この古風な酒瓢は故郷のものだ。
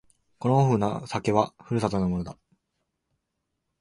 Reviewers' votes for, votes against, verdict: 6, 7, rejected